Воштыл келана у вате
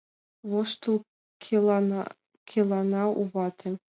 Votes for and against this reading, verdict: 1, 2, rejected